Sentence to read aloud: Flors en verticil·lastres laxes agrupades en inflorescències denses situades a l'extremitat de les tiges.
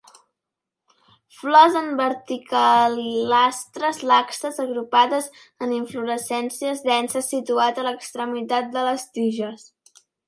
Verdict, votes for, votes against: rejected, 1, 2